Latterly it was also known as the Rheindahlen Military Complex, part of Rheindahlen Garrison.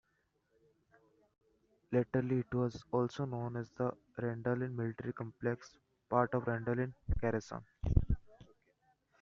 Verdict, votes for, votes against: rejected, 1, 2